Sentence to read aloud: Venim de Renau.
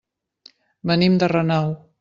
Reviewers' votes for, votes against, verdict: 1, 2, rejected